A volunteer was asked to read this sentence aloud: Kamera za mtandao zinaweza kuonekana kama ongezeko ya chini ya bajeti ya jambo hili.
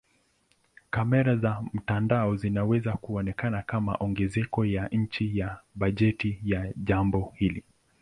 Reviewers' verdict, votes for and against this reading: accepted, 8, 5